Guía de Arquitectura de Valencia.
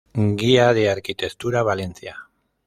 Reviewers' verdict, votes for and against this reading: rejected, 0, 2